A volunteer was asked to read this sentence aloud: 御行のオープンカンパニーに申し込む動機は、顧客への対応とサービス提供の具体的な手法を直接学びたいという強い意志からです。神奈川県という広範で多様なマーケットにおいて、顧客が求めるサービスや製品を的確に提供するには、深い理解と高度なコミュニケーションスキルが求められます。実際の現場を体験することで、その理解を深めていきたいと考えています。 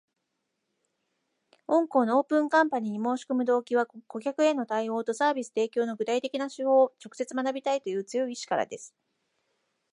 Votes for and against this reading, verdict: 1, 2, rejected